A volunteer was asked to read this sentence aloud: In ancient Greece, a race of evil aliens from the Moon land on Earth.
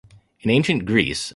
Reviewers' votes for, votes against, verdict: 0, 2, rejected